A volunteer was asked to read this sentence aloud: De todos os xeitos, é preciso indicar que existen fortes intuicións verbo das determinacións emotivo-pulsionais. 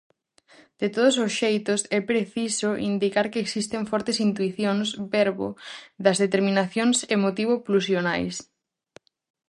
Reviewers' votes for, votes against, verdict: 4, 0, accepted